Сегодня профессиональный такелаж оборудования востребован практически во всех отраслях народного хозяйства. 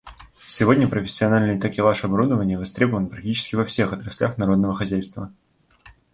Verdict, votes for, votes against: rejected, 1, 2